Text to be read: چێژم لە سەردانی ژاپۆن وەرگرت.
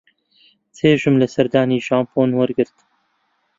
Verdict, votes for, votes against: accepted, 2, 0